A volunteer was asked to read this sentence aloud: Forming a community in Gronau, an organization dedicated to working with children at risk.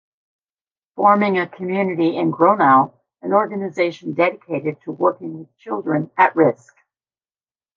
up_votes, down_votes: 2, 0